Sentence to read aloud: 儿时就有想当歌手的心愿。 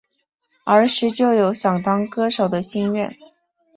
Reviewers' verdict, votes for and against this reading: accepted, 2, 0